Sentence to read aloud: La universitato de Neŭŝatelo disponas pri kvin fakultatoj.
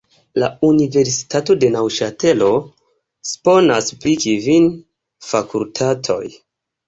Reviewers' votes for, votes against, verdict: 1, 2, rejected